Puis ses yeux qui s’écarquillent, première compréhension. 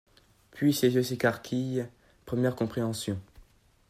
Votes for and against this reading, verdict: 0, 2, rejected